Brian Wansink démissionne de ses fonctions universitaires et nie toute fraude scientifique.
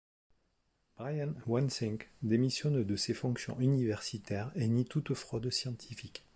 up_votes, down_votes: 4, 0